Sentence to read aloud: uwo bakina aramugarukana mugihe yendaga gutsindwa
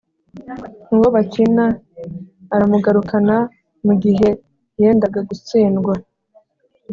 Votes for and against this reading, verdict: 2, 0, accepted